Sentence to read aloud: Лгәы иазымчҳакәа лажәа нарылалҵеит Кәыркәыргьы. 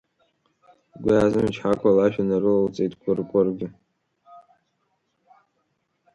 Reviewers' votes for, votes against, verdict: 0, 3, rejected